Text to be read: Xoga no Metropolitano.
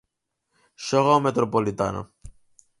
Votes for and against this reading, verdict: 2, 4, rejected